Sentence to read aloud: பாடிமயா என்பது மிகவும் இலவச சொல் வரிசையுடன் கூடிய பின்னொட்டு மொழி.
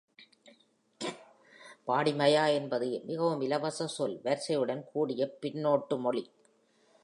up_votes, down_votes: 2, 0